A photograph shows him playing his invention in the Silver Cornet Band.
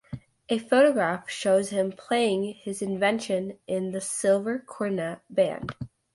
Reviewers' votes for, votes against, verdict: 2, 0, accepted